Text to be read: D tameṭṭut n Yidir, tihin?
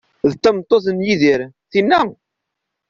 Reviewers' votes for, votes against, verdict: 0, 2, rejected